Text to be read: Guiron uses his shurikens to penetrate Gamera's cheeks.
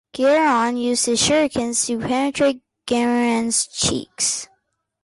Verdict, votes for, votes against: rejected, 1, 2